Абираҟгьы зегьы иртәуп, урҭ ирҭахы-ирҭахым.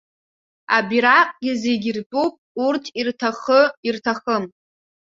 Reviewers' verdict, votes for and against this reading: accepted, 2, 0